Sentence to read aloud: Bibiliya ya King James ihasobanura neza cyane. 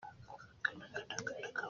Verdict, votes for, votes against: rejected, 0, 2